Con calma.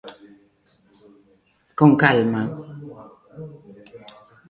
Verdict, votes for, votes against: rejected, 1, 2